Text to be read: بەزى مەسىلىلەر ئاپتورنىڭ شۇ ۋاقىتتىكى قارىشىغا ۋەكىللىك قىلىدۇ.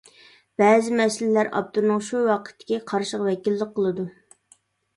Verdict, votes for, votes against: accepted, 2, 0